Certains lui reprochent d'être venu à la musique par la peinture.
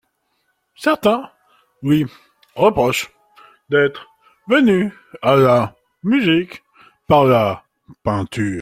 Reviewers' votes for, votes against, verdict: 2, 1, accepted